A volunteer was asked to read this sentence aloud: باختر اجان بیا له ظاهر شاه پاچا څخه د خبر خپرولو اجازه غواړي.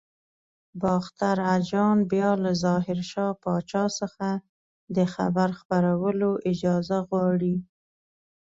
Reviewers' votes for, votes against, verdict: 2, 0, accepted